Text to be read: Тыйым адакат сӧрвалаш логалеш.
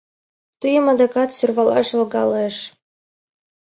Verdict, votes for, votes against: accepted, 2, 0